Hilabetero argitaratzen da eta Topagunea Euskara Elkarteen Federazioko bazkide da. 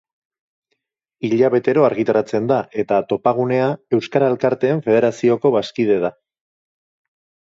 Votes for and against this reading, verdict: 2, 0, accepted